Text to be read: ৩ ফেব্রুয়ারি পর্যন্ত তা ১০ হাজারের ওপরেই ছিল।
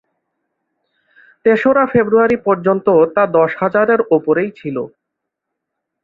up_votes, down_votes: 0, 2